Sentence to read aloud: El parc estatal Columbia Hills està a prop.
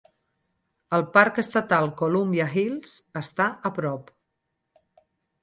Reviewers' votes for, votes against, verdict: 4, 0, accepted